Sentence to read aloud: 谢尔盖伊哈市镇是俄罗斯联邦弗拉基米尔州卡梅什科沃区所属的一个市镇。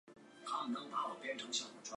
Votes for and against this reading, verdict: 0, 2, rejected